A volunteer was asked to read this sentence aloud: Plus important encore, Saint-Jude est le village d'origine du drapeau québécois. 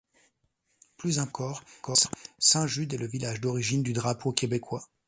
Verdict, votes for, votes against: rejected, 0, 2